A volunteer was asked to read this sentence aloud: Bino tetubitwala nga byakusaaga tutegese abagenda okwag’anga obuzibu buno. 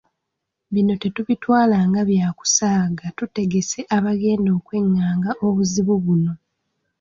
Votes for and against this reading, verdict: 0, 2, rejected